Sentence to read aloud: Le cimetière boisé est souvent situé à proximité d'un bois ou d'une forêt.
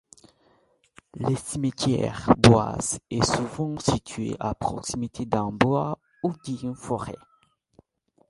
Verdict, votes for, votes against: rejected, 0, 2